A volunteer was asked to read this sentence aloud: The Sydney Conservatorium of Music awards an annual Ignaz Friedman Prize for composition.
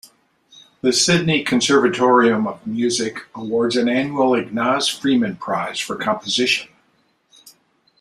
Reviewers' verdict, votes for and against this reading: accepted, 2, 0